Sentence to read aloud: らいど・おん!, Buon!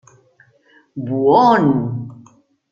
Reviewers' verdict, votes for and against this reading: rejected, 1, 2